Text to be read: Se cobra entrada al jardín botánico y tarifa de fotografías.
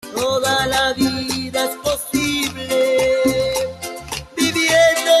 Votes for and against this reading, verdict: 0, 2, rejected